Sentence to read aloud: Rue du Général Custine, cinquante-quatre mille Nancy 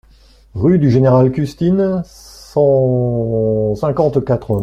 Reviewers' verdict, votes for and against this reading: rejected, 0, 2